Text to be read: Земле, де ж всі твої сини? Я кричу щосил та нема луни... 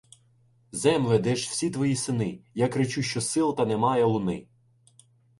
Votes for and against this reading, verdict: 1, 2, rejected